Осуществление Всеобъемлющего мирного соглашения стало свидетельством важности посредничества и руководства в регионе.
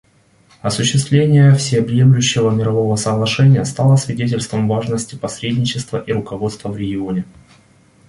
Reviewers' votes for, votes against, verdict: 1, 2, rejected